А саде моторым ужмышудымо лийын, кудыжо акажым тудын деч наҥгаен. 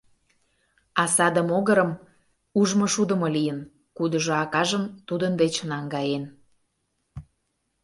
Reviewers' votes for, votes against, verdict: 0, 2, rejected